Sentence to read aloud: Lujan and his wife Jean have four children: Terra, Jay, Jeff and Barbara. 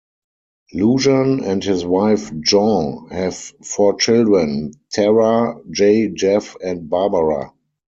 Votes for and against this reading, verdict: 2, 4, rejected